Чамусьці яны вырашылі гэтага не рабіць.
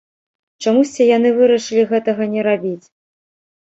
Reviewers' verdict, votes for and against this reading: accepted, 2, 0